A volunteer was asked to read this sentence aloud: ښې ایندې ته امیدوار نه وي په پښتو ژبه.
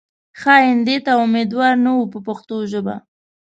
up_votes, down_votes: 2, 0